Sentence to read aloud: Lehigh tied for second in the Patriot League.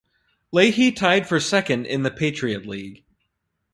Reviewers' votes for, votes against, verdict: 2, 2, rejected